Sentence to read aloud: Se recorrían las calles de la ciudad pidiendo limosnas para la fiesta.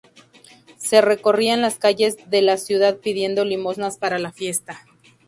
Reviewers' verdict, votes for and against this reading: accepted, 2, 0